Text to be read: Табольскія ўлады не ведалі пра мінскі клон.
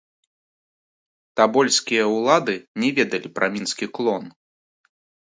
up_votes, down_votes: 1, 2